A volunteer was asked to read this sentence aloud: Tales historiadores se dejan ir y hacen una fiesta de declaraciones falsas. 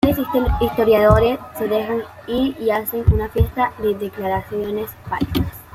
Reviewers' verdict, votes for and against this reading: rejected, 0, 2